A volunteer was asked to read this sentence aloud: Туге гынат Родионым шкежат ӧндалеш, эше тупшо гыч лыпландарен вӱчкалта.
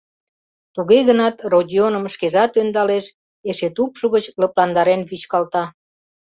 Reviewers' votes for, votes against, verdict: 2, 0, accepted